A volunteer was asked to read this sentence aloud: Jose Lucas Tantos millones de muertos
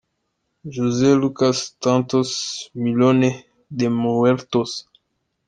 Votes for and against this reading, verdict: 1, 2, rejected